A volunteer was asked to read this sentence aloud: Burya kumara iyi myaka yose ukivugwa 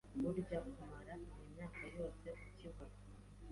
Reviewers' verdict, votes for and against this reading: accepted, 2, 0